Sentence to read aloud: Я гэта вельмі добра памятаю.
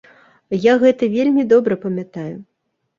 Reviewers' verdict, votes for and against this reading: accepted, 2, 0